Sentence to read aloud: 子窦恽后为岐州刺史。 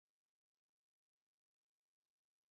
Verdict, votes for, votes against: rejected, 0, 2